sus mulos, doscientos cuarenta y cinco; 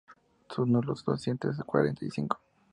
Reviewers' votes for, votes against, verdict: 0, 2, rejected